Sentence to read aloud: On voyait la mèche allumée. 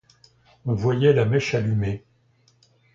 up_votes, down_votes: 2, 0